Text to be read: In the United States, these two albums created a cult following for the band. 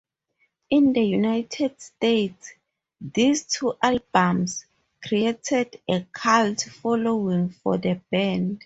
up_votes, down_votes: 2, 2